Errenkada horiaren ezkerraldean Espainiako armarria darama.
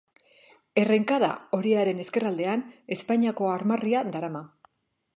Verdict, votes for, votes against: accepted, 2, 0